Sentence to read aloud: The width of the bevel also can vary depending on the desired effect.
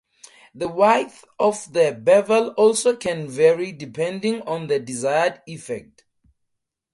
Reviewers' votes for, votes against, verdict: 0, 2, rejected